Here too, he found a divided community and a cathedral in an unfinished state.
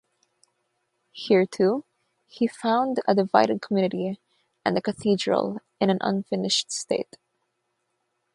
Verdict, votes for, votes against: rejected, 0, 3